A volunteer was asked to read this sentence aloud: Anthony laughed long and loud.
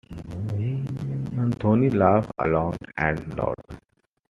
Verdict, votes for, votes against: accepted, 2, 0